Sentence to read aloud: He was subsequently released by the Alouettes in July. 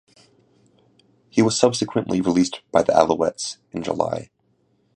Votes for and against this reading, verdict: 2, 0, accepted